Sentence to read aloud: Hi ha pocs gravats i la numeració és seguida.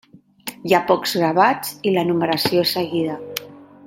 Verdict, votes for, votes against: accepted, 2, 0